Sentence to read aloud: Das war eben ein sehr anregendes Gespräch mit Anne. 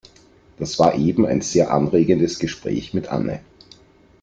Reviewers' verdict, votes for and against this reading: accepted, 2, 0